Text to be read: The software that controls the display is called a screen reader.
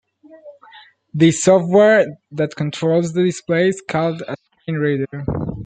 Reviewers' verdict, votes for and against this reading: rejected, 0, 2